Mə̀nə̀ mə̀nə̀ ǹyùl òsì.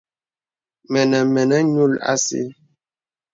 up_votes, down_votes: 2, 0